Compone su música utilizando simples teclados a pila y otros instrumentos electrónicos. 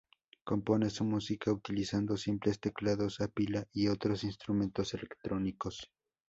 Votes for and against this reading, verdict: 0, 2, rejected